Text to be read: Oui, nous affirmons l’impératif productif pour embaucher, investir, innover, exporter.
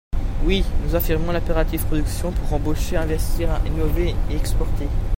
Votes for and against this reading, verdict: 0, 2, rejected